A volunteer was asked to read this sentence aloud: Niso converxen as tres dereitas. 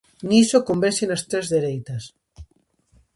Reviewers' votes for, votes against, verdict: 2, 0, accepted